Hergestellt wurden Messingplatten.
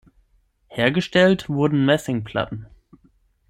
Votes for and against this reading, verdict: 6, 0, accepted